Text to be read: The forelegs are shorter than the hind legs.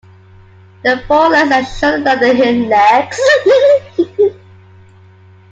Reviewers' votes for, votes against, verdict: 0, 2, rejected